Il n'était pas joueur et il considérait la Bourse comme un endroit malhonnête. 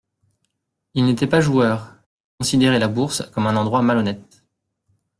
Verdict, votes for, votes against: rejected, 1, 2